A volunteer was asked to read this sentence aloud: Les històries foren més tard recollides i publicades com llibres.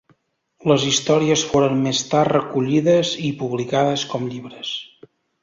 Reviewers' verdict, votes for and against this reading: accepted, 2, 0